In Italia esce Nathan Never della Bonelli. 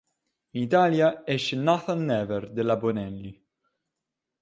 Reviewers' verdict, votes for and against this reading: rejected, 1, 2